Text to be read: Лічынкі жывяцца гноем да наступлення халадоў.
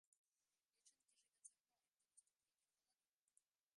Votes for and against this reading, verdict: 0, 2, rejected